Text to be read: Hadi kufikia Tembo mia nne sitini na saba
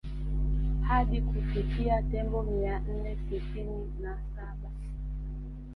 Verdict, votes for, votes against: accepted, 3, 1